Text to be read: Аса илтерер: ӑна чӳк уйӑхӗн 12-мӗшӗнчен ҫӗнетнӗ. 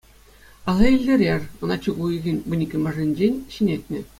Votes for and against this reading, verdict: 0, 2, rejected